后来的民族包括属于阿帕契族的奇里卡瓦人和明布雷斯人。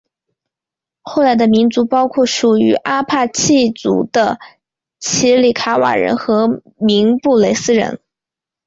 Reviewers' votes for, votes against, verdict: 2, 0, accepted